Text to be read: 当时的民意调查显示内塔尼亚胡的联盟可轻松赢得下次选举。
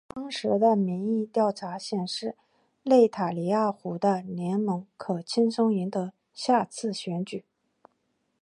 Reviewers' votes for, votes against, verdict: 2, 1, accepted